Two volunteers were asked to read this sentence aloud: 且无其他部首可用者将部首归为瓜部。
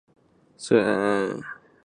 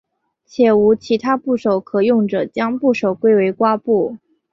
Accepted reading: second